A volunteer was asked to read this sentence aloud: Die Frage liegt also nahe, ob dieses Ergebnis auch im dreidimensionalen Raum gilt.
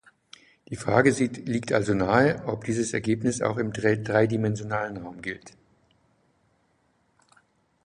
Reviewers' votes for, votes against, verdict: 0, 3, rejected